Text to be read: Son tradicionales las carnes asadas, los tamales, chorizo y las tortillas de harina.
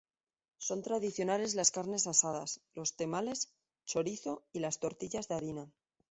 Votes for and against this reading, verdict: 0, 2, rejected